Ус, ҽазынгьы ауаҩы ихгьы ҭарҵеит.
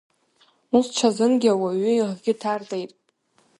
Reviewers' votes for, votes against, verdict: 1, 2, rejected